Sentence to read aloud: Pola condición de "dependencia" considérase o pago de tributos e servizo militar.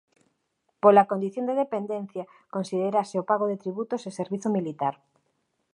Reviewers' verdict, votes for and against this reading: accepted, 2, 0